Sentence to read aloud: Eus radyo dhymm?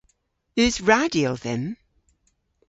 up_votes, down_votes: 2, 0